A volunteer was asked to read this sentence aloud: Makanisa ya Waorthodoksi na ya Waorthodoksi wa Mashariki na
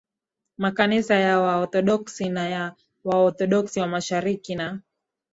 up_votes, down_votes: 2, 0